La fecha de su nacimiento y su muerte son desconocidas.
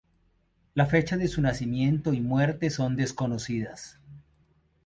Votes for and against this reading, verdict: 0, 2, rejected